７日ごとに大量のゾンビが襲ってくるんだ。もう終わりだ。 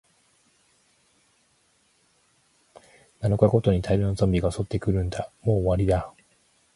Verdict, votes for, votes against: rejected, 0, 2